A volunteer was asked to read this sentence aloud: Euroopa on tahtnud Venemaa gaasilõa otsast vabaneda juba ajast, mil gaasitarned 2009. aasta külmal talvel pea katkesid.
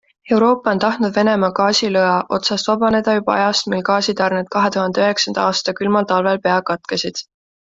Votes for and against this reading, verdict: 0, 2, rejected